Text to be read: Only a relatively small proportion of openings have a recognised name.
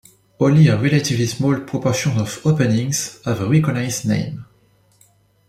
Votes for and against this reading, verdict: 2, 0, accepted